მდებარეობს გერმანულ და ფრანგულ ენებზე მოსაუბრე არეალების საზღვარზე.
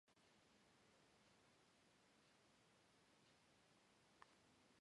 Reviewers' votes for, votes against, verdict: 0, 2, rejected